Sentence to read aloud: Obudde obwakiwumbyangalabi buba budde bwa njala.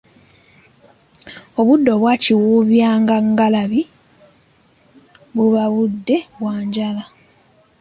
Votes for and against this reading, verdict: 1, 2, rejected